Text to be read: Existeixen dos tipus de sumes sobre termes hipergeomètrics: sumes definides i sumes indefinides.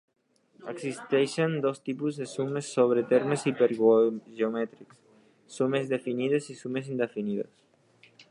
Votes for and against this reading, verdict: 1, 2, rejected